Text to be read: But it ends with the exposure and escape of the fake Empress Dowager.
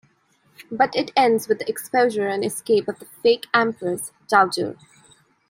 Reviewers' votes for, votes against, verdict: 0, 2, rejected